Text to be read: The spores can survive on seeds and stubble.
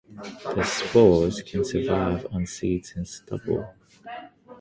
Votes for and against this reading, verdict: 6, 0, accepted